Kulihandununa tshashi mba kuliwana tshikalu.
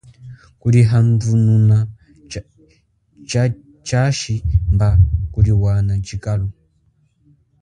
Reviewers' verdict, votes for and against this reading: accepted, 3, 2